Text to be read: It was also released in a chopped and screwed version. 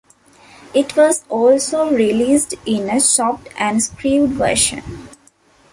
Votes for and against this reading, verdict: 1, 2, rejected